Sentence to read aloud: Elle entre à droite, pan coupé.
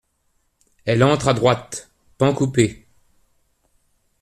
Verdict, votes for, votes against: accepted, 2, 0